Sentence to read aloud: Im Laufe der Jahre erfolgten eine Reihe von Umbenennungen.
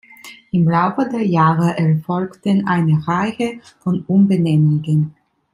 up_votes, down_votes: 2, 0